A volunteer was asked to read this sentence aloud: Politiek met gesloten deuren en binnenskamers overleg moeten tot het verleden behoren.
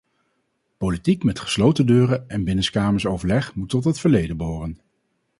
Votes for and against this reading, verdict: 0, 2, rejected